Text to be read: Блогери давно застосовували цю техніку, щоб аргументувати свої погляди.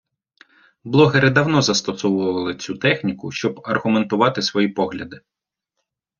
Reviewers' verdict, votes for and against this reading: accepted, 2, 0